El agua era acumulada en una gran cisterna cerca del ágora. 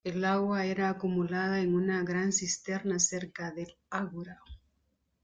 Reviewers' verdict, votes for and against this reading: rejected, 1, 2